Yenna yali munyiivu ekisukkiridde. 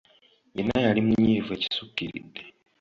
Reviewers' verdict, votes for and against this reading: accepted, 2, 0